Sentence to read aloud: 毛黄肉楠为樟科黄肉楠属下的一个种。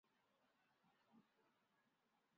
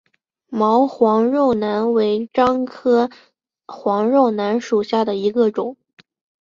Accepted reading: second